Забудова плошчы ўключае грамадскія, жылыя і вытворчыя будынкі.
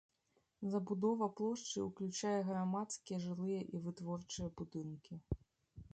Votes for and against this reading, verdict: 2, 0, accepted